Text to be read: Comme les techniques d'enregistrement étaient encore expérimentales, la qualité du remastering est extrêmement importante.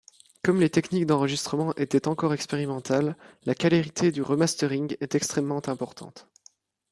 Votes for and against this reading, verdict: 0, 2, rejected